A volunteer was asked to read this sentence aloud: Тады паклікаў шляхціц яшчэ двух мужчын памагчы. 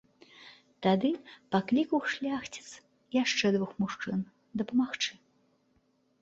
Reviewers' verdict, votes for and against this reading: rejected, 0, 2